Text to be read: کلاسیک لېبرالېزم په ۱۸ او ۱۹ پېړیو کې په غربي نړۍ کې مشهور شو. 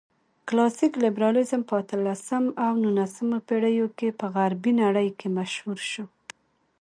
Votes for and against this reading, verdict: 0, 2, rejected